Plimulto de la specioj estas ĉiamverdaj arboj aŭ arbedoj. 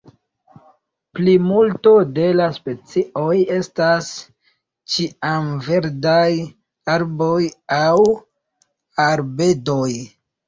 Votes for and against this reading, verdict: 3, 0, accepted